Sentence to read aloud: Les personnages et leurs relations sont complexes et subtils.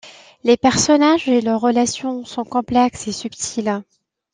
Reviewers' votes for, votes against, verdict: 2, 0, accepted